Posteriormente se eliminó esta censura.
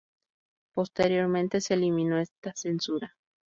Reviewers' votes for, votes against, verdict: 0, 2, rejected